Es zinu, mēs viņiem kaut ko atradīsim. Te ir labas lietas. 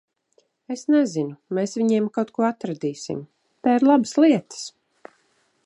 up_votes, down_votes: 0, 2